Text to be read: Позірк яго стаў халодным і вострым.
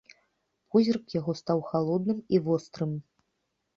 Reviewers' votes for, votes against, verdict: 2, 0, accepted